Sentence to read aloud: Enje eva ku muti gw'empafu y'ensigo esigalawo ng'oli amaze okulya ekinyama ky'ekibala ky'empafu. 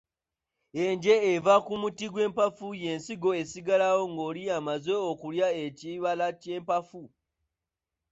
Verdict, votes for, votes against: rejected, 0, 2